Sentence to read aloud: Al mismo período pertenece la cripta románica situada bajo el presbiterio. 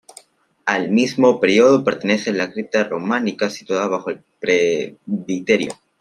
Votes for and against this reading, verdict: 0, 2, rejected